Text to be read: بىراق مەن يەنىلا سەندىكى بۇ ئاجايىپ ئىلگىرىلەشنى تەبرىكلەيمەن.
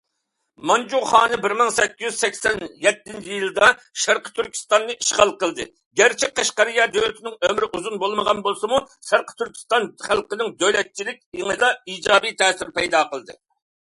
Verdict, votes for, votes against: rejected, 0, 2